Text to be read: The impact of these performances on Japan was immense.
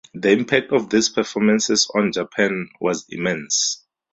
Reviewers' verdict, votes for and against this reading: rejected, 0, 2